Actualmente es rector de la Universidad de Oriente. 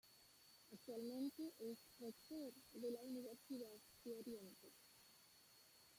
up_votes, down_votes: 0, 2